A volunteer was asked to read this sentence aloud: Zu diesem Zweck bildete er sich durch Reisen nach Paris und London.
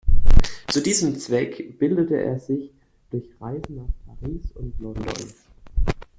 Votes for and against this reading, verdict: 2, 0, accepted